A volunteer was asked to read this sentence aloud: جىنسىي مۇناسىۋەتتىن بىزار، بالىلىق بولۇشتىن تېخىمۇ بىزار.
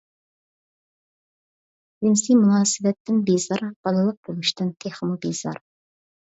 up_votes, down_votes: 2, 0